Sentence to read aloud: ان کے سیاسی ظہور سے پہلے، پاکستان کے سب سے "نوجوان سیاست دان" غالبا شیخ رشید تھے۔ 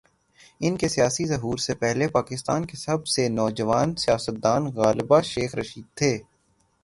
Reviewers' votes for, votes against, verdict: 0, 3, rejected